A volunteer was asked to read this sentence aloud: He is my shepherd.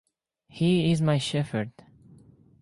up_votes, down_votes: 2, 2